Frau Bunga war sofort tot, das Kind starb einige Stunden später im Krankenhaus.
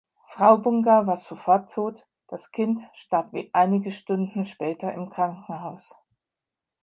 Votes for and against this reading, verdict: 0, 3, rejected